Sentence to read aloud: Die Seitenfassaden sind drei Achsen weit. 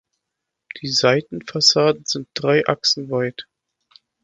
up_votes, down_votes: 2, 0